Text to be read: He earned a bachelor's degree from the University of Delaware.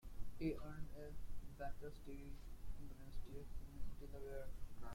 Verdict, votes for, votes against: rejected, 0, 2